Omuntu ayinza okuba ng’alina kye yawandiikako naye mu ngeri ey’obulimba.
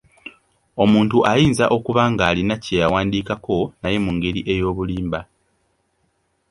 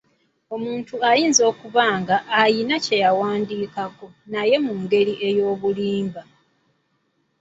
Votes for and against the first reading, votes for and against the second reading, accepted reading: 2, 0, 1, 2, first